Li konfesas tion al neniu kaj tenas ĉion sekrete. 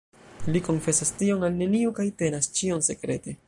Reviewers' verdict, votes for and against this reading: accepted, 2, 1